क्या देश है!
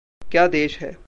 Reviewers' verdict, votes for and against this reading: accepted, 2, 1